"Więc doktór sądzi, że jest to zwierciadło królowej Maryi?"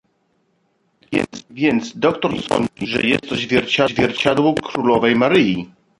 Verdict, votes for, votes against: rejected, 1, 2